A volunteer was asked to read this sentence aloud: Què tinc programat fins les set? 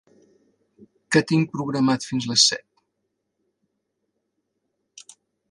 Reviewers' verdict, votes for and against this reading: accepted, 3, 0